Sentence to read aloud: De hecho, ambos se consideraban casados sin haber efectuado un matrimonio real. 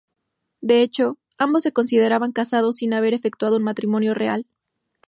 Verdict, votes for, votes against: accepted, 2, 0